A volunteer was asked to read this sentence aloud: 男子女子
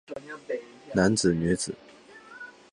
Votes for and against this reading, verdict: 2, 0, accepted